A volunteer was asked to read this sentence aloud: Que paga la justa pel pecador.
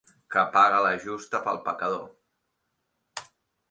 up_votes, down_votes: 3, 0